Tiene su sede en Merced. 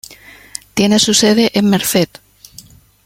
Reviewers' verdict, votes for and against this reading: rejected, 0, 2